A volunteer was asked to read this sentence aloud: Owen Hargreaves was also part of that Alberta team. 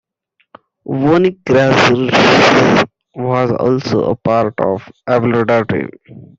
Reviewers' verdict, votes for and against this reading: rejected, 0, 2